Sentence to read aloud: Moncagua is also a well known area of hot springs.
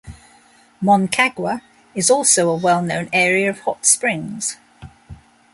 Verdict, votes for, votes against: accepted, 2, 0